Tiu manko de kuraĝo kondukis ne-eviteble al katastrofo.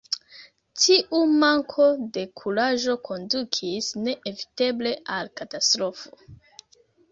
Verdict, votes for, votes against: accepted, 2, 0